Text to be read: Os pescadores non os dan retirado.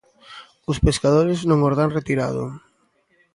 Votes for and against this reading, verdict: 2, 0, accepted